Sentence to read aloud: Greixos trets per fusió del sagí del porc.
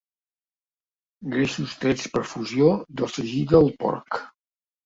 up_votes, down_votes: 2, 1